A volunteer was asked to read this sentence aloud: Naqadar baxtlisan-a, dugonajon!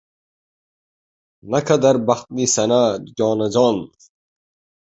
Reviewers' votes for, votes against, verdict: 1, 2, rejected